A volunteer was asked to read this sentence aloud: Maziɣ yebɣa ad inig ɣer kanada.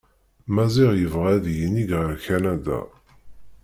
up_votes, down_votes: 1, 2